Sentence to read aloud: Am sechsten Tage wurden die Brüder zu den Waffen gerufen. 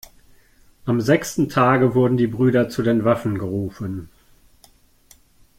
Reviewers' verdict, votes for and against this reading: accepted, 2, 0